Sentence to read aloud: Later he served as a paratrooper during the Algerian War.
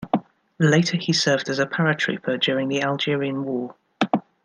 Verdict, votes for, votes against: accepted, 2, 0